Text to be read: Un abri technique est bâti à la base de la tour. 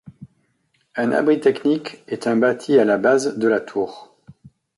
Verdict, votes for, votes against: rejected, 1, 2